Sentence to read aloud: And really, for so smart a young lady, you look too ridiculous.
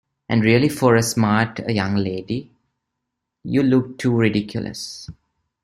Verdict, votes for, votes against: rejected, 0, 2